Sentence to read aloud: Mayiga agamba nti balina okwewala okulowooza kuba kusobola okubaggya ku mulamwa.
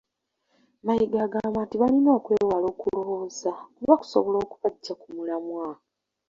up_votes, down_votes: 2, 1